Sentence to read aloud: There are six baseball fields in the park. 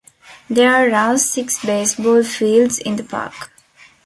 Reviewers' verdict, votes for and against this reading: accepted, 2, 1